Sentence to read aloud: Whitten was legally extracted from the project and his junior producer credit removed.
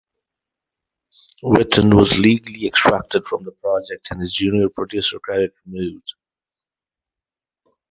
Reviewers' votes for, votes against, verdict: 2, 2, rejected